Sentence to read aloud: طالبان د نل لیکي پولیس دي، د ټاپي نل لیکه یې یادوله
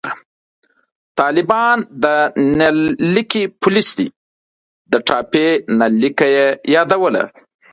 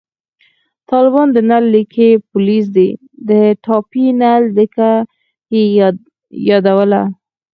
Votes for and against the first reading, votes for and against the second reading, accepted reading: 2, 0, 0, 4, first